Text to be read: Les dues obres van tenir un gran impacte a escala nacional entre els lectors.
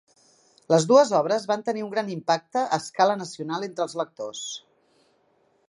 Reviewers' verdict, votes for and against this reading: accepted, 3, 1